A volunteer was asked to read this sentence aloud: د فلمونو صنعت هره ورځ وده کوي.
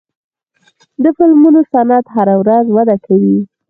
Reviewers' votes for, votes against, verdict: 0, 4, rejected